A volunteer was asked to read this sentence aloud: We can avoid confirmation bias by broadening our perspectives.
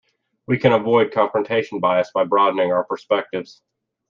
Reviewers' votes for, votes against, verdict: 1, 2, rejected